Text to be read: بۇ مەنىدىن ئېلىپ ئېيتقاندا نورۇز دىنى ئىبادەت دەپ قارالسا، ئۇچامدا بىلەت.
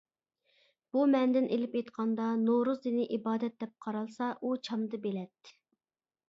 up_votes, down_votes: 0, 2